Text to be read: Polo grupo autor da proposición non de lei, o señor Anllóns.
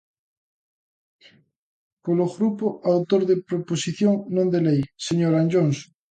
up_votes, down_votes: 0, 2